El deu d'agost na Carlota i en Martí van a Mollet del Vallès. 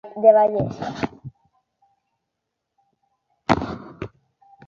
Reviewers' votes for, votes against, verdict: 1, 2, rejected